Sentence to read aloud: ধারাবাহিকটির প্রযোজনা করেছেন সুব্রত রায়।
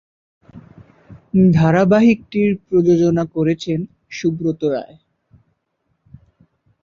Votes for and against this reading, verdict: 2, 0, accepted